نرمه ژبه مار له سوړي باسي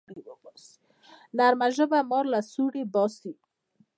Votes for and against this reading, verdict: 2, 1, accepted